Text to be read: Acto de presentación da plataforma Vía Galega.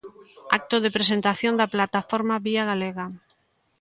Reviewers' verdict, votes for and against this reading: accepted, 2, 0